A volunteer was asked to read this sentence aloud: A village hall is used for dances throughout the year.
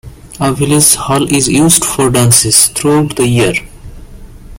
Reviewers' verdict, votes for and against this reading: accepted, 2, 0